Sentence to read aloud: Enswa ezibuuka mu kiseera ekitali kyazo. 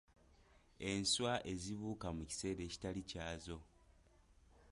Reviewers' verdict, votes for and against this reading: accepted, 2, 1